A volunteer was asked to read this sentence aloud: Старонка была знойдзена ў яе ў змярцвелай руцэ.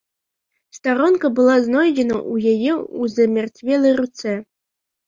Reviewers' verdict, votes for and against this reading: rejected, 0, 2